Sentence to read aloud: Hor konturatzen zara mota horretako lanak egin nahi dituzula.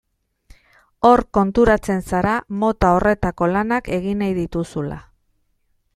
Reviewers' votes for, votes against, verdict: 2, 0, accepted